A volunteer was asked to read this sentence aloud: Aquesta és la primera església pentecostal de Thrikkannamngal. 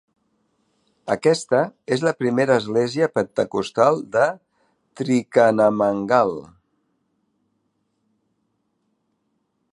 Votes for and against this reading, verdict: 1, 2, rejected